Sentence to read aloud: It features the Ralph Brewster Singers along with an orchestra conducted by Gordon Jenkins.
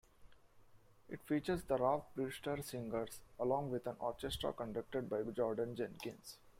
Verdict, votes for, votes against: rejected, 0, 2